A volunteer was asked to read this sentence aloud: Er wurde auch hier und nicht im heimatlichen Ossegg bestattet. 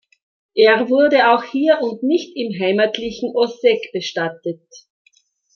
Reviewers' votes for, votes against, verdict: 2, 0, accepted